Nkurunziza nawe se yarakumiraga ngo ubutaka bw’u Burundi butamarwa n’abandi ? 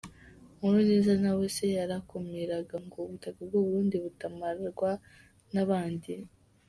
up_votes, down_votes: 1, 2